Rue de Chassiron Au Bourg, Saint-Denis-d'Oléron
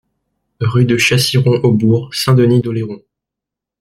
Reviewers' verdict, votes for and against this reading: accepted, 2, 0